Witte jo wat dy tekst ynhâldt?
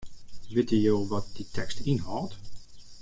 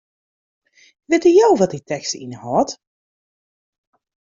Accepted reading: second